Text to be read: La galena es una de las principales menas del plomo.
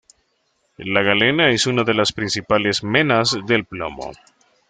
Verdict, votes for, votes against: accepted, 2, 0